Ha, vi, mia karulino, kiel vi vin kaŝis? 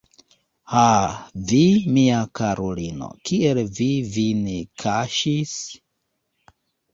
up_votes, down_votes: 1, 2